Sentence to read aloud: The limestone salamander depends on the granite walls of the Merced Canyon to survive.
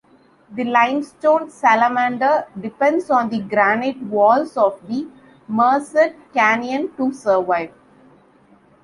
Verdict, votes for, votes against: accepted, 2, 0